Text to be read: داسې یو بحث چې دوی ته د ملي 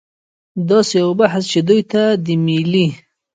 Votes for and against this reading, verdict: 1, 2, rejected